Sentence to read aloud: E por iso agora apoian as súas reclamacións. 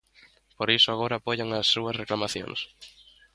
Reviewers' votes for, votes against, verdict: 0, 2, rejected